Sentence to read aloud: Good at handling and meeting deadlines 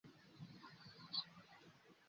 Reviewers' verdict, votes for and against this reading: rejected, 0, 2